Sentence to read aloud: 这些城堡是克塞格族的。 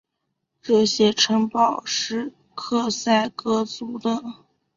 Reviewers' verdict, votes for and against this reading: accepted, 7, 1